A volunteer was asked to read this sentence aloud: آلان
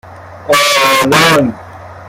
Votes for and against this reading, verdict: 2, 0, accepted